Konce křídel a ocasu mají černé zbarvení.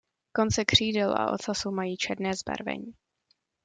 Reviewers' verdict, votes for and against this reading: accepted, 2, 0